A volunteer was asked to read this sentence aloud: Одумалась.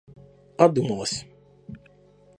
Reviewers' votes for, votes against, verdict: 1, 2, rejected